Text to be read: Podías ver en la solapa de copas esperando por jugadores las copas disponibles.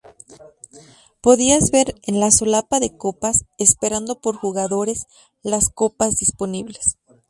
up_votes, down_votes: 0, 2